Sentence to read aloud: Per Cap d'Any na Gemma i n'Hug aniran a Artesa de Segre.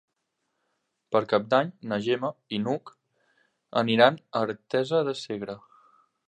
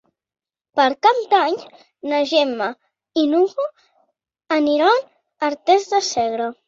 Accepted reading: first